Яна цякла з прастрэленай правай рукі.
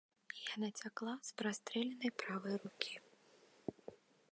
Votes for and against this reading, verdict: 2, 0, accepted